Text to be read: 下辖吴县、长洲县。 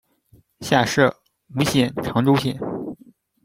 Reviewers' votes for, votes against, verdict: 0, 2, rejected